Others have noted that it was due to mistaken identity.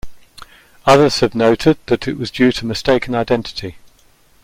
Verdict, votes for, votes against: accepted, 2, 0